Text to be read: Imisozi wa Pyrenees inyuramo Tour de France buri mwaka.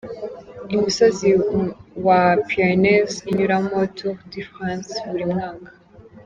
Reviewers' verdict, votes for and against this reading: rejected, 1, 2